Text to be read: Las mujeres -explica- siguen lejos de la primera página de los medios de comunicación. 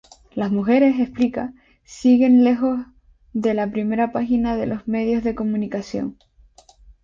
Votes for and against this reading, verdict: 2, 0, accepted